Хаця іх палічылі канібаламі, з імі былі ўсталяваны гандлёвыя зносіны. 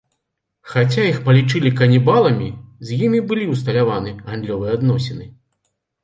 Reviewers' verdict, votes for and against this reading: rejected, 0, 2